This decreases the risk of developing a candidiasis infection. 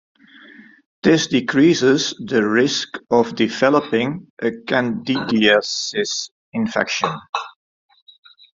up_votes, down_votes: 0, 2